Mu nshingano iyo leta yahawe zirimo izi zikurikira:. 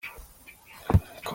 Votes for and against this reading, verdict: 0, 2, rejected